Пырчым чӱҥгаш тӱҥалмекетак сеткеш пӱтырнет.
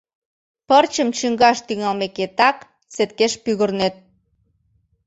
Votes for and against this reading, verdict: 0, 2, rejected